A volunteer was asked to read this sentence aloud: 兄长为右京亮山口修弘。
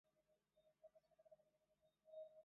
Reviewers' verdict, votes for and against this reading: rejected, 1, 4